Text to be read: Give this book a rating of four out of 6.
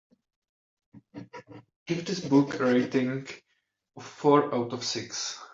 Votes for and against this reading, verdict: 0, 2, rejected